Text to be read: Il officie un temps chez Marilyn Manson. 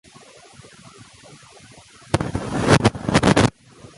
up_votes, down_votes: 0, 2